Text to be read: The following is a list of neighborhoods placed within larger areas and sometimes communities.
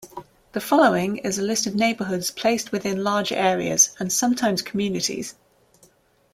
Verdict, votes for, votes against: rejected, 0, 2